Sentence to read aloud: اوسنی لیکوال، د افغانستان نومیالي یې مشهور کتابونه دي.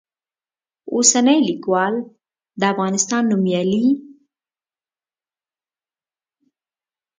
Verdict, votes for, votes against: rejected, 0, 2